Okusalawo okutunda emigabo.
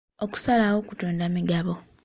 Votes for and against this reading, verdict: 0, 2, rejected